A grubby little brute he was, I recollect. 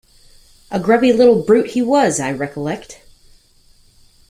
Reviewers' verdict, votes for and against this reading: accepted, 2, 0